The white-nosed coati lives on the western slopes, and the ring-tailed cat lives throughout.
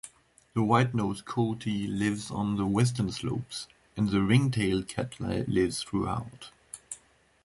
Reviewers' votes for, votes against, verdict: 2, 1, accepted